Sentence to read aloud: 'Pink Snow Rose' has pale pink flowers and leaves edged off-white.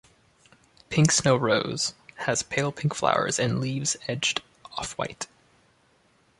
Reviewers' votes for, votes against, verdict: 2, 1, accepted